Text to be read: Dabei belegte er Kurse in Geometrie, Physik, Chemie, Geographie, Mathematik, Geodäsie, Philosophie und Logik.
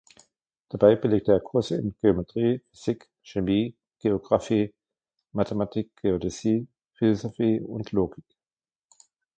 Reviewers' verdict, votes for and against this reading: accepted, 2, 0